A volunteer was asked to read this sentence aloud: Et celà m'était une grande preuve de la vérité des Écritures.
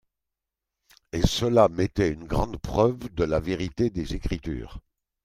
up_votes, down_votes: 2, 1